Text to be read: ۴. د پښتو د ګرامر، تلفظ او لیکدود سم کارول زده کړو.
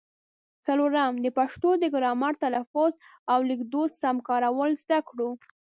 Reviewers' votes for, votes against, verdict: 0, 2, rejected